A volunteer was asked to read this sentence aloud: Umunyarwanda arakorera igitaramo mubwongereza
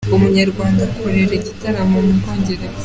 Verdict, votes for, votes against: accepted, 2, 1